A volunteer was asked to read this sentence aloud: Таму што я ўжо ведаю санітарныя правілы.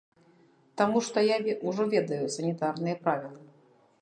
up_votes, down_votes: 0, 2